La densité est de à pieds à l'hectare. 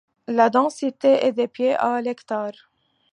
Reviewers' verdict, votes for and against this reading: rejected, 0, 2